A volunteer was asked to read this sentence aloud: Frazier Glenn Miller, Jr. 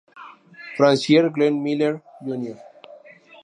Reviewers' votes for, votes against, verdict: 0, 2, rejected